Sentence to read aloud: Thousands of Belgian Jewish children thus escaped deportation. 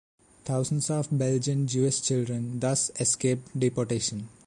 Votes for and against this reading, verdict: 2, 1, accepted